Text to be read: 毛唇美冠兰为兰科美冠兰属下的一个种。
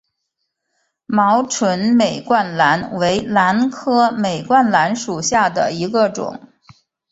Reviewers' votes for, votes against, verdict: 4, 0, accepted